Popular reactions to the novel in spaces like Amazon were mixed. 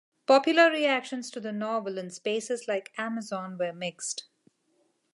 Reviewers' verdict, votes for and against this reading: accepted, 2, 0